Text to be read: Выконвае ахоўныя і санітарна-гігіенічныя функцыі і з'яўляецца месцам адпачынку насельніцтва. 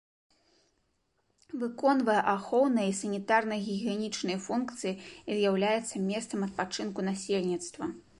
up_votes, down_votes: 2, 0